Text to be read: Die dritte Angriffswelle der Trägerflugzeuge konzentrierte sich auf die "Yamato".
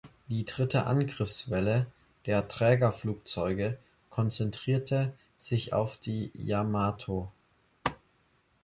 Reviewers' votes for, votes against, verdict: 3, 0, accepted